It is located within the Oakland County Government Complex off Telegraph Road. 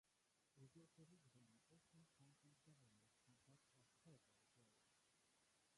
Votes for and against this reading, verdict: 0, 2, rejected